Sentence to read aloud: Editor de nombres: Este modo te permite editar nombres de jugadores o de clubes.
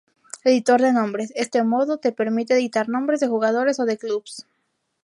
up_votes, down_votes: 0, 2